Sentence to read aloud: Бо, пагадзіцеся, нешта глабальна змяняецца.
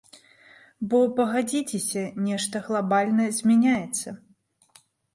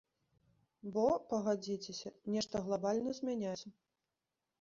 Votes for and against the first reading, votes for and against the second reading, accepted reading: 2, 0, 0, 2, first